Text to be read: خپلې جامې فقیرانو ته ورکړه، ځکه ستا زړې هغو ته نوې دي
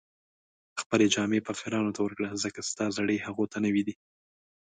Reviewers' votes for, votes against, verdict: 2, 0, accepted